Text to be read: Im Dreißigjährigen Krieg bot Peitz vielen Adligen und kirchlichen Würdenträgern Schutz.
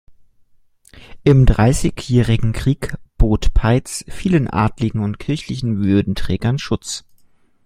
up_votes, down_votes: 2, 0